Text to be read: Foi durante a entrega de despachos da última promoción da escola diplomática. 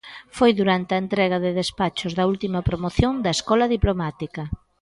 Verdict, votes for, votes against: accepted, 2, 0